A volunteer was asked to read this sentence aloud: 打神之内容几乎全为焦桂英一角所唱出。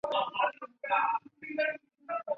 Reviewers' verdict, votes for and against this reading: rejected, 0, 2